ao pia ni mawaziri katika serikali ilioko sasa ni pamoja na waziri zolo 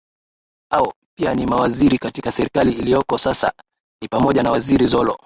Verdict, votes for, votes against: accepted, 2, 0